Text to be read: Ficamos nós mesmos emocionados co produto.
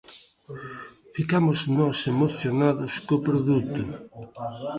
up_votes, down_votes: 0, 2